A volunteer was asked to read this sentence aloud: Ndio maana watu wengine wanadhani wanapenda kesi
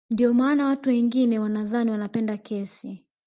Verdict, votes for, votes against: rejected, 0, 2